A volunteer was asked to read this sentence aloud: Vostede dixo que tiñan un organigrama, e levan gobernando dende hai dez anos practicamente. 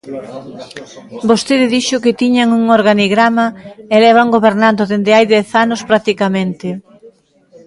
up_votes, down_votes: 2, 0